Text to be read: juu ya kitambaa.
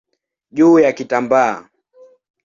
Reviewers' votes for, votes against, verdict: 2, 0, accepted